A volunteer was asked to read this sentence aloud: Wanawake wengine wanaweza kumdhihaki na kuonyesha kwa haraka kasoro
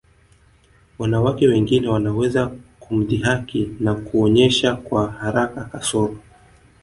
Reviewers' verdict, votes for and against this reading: accepted, 2, 1